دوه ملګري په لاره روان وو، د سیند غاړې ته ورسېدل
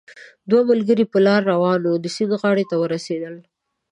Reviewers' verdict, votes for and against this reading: accepted, 2, 0